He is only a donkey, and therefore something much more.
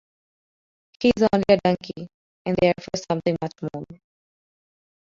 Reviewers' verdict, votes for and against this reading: accepted, 2, 1